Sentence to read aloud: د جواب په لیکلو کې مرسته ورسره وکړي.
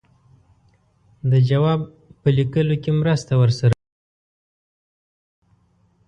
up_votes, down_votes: 1, 4